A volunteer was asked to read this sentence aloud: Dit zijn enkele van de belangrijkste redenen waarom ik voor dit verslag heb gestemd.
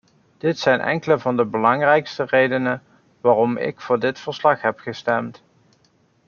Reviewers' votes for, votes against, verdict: 2, 0, accepted